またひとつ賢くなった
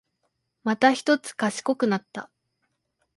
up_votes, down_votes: 2, 0